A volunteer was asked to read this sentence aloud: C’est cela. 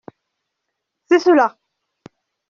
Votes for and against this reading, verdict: 2, 0, accepted